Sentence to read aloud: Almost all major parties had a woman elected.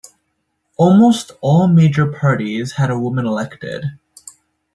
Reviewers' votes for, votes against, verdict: 2, 0, accepted